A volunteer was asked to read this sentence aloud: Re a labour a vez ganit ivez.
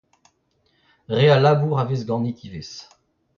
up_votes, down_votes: 1, 2